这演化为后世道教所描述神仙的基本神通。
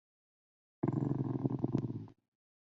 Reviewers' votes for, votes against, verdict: 1, 3, rejected